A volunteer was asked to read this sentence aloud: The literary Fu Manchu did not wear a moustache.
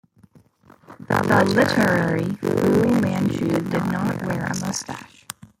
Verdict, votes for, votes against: rejected, 1, 2